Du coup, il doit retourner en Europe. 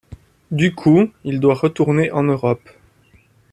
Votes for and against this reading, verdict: 2, 0, accepted